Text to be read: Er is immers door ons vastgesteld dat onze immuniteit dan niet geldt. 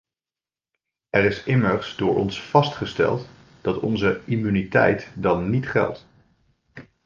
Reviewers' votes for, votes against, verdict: 2, 0, accepted